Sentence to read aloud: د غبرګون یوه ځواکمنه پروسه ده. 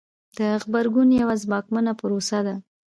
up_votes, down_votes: 2, 0